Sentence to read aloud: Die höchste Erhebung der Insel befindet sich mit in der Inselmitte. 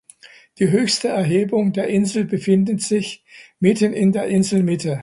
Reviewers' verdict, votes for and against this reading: rejected, 0, 2